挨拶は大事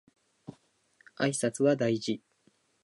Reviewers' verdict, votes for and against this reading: accepted, 2, 0